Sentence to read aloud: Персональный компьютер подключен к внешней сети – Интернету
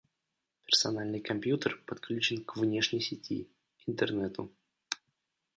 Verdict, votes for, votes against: accepted, 3, 0